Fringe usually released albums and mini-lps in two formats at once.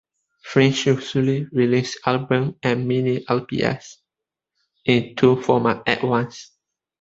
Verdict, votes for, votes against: rejected, 0, 2